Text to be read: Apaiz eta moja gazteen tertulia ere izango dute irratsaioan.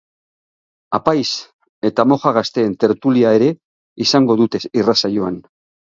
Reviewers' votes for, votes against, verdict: 6, 0, accepted